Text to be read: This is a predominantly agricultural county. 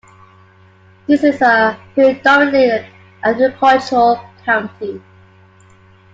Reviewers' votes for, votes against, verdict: 2, 1, accepted